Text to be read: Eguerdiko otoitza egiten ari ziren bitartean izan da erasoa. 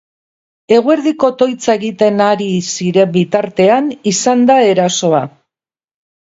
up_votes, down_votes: 8, 0